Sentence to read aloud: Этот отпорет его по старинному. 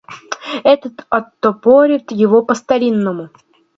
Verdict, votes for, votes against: rejected, 0, 2